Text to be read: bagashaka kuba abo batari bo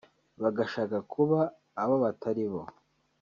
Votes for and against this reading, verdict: 2, 0, accepted